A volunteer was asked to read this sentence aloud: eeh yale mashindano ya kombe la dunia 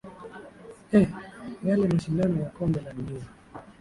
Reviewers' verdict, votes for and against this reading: accepted, 2, 1